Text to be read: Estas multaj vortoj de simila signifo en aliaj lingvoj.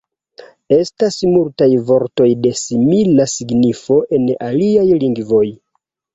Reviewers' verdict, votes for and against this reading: rejected, 1, 2